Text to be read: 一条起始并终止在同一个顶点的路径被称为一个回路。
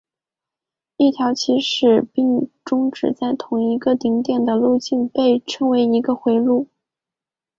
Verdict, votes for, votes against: accepted, 3, 1